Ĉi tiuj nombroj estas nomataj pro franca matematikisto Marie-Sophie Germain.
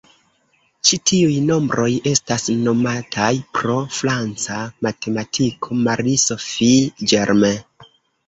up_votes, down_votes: 0, 2